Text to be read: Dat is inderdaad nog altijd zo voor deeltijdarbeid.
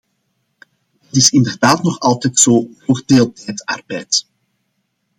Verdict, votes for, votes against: rejected, 1, 2